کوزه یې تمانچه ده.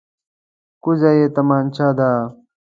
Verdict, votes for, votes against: accepted, 2, 0